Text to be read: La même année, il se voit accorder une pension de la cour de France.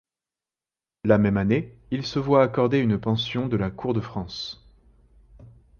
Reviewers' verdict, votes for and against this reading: accepted, 2, 0